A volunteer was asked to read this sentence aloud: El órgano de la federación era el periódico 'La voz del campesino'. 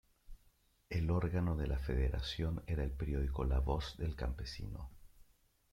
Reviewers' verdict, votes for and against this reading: accepted, 2, 0